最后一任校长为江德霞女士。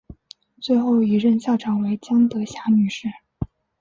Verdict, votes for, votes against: accepted, 3, 0